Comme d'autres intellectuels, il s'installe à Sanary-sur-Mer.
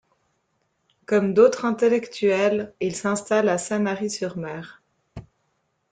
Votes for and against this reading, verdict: 3, 0, accepted